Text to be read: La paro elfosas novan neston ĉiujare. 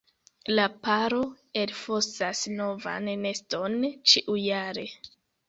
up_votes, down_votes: 1, 2